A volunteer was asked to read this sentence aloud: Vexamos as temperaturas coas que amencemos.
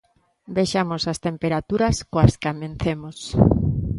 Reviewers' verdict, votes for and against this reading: accepted, 2, 0